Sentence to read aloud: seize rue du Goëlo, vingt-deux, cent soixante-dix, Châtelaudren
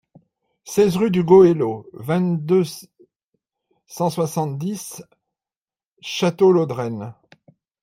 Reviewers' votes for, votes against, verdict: 1, 2, rejected